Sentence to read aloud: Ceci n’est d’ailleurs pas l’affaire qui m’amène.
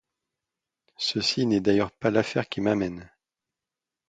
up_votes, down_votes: 2, 0